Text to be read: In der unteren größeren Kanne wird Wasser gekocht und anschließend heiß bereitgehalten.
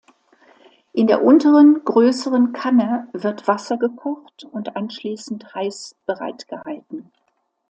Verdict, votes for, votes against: accepted, 2, 0